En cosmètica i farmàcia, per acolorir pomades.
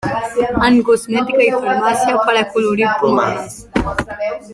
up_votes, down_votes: 0, 2